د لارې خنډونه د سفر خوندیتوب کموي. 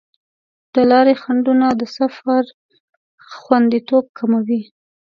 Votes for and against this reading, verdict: 2, 0, accepted